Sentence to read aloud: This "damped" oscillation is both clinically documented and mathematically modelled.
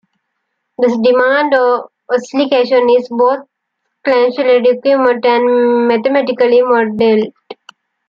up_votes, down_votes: 0, 2